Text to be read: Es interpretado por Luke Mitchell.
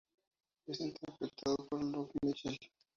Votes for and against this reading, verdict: 2, 2, rejected